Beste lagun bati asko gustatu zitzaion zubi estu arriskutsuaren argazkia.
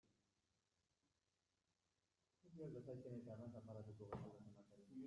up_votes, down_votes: 0, 2